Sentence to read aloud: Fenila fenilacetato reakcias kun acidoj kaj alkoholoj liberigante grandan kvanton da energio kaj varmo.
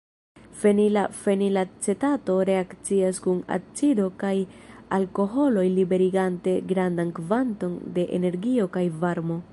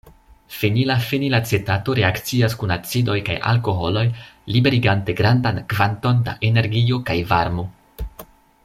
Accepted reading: second